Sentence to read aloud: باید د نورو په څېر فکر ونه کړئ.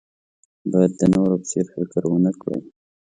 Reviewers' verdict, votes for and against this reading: accepted, 2, 0